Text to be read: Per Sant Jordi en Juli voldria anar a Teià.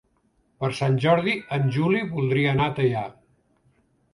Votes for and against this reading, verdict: 3, 0, accepted